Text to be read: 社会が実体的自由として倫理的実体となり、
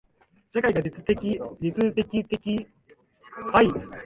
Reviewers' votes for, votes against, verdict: 1, 2, rejected